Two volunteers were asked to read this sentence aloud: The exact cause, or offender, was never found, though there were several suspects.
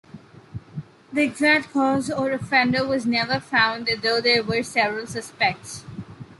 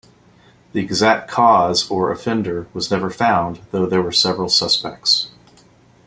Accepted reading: second